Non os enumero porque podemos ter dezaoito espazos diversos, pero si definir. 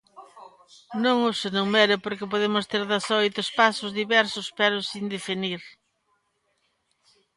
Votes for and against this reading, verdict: 1, 2, rejected